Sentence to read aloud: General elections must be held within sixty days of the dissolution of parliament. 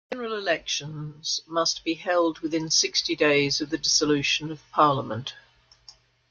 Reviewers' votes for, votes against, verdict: 2, 1, accepted